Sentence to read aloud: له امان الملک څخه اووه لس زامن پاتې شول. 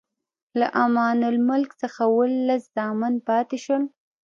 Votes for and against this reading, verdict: 0, 2, rejected